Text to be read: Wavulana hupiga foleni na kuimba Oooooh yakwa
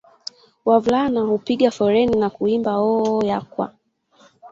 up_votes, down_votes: 2, 1